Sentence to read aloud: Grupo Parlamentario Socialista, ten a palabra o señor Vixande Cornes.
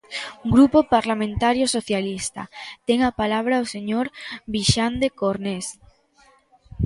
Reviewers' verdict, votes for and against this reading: rejected, 0, 2